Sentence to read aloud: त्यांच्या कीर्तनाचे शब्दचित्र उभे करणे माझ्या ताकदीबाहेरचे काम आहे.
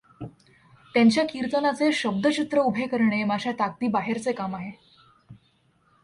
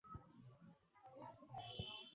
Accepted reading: first